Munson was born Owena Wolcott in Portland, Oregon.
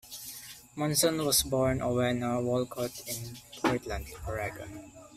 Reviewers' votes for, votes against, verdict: 0, 2, rejected